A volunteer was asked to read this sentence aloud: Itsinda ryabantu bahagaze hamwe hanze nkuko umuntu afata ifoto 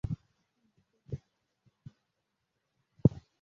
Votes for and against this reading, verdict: 0, 2, rejected